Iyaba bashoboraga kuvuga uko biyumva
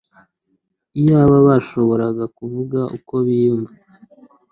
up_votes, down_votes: 2, 0